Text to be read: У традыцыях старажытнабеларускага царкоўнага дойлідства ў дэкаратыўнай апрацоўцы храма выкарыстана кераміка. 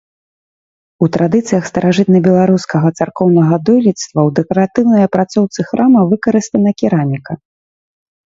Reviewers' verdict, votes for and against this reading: accepted, 3, 0